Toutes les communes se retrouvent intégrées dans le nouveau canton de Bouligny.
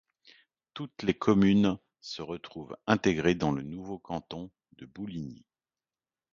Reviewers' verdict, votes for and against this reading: rejected, 1, 2